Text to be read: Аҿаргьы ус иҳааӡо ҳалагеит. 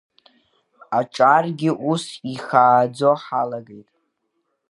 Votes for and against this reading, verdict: 0, 2, rejected